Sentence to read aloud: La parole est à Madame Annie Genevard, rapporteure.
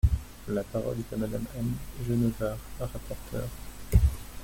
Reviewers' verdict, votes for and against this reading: rejected, 1, 2